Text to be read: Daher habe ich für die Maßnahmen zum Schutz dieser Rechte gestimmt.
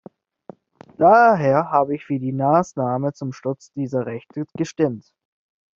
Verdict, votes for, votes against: rejected, 1, 2